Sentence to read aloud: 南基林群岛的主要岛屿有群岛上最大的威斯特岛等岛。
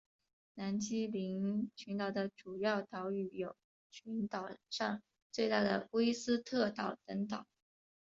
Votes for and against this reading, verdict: 2, 1, accepted